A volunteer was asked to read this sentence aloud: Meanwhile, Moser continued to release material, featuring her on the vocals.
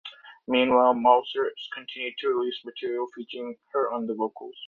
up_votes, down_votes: 0, 2